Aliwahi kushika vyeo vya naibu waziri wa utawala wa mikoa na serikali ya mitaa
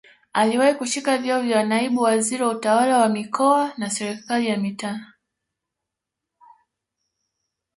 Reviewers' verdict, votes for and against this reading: accepted, 2, 0